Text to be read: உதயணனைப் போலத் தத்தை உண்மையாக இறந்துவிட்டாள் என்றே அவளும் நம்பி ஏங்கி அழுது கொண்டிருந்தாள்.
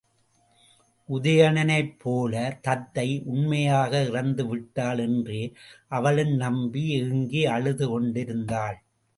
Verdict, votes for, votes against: rejected, 0, 2